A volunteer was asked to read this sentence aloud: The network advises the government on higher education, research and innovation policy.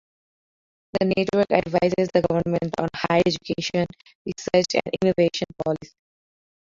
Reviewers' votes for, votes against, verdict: 0, 2, rejected